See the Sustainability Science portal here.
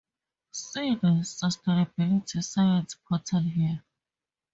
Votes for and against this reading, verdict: 4, 0, accepted